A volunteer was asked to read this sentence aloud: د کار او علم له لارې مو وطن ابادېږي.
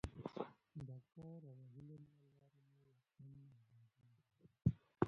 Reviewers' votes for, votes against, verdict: 1, 2, rejected